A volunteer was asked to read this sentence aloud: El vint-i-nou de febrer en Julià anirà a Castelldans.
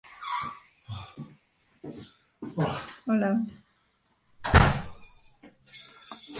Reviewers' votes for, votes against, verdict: 1, 2, rejected